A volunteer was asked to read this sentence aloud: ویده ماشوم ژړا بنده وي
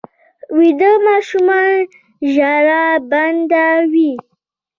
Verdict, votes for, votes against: accepted, 2, 0